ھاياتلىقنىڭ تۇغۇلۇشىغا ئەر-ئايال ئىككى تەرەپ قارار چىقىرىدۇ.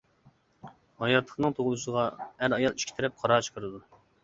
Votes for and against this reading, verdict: 2, 0, accepted